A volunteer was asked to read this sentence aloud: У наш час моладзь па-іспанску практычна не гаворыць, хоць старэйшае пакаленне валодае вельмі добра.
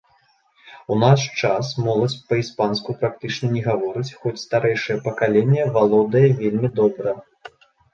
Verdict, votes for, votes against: accepted, 2, 0